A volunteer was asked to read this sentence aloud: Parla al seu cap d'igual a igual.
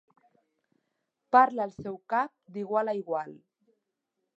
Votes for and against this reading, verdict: 2, 0, accepted